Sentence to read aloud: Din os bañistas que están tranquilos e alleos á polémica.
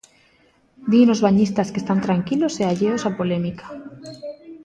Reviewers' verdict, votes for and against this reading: accepted, 2, 0